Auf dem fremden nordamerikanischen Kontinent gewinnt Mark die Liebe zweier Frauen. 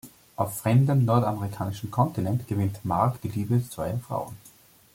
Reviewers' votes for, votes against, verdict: 0, 2, rejected